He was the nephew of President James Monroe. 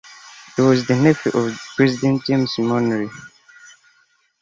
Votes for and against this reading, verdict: 2, 0, accepted